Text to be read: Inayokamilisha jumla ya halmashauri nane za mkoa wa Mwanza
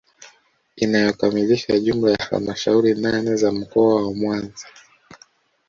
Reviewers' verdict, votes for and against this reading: accepted, 2, 0